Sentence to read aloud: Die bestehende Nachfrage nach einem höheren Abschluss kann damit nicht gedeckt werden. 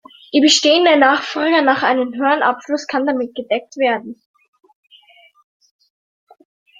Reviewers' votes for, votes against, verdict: 0, 2, rejected